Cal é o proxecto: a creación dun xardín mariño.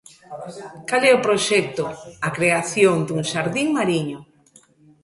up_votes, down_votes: 2, 1